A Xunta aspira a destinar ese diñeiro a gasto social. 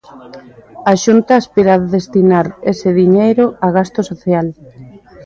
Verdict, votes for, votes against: rejected, 1, 2